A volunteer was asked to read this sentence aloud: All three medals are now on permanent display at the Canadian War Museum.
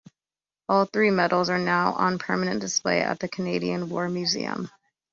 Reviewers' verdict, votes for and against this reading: accepted, 2, 0